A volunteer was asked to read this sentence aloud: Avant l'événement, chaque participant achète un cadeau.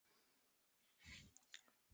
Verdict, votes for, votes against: rejected, 0, 2